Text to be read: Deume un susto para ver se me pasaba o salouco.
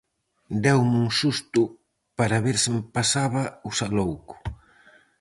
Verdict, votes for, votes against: rejected, 2, 2